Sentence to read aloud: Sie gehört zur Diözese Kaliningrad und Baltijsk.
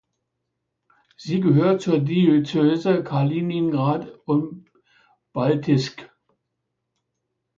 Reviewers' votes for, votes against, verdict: 1, 2, rejected